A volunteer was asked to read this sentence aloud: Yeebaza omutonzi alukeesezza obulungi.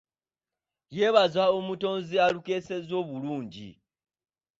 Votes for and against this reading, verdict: 2, 1, accepted